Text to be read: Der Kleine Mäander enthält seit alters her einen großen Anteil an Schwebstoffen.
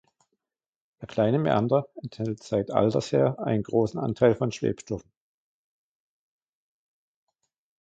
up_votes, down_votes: 0, 2